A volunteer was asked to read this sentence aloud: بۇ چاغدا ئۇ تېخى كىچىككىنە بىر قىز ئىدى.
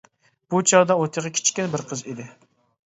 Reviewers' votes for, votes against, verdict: 1, 2, rejected